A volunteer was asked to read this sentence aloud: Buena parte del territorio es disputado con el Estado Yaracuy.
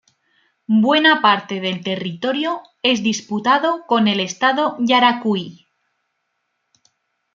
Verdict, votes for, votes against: accepted, 2, 0